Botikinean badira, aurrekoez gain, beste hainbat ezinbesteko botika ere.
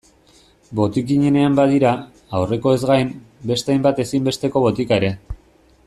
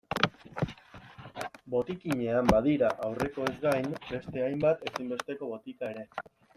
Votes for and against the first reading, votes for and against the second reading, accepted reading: 1, 2, 2, 1, second